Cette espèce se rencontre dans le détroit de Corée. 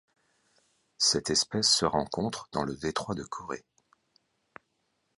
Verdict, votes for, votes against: accepted, 2, 0